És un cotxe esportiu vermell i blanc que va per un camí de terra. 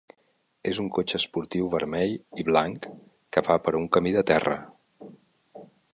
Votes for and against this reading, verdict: 1, 2, rejected